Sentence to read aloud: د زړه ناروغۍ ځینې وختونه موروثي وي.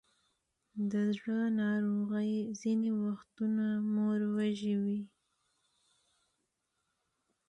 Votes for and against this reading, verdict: 1, 2, rejected